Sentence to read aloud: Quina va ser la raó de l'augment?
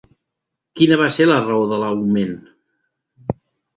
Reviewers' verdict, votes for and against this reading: accepted, 4, 0